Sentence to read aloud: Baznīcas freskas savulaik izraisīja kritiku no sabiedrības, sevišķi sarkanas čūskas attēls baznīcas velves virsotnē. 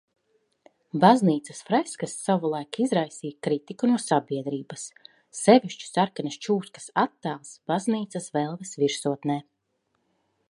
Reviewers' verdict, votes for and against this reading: accepted, 3, 0